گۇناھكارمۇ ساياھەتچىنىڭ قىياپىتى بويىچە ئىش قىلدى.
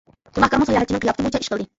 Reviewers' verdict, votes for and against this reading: rejected, 1, 2